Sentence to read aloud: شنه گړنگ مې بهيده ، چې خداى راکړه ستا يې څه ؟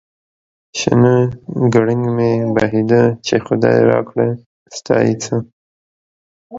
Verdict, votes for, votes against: accepted, 2, 1